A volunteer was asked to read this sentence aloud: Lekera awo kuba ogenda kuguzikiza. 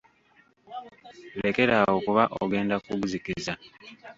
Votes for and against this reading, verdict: 0, 2, rejected